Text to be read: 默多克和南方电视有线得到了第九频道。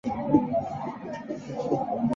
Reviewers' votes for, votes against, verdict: 2, 6, rejected